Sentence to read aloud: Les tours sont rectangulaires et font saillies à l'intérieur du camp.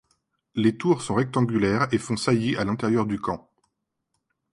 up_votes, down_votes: 2, 0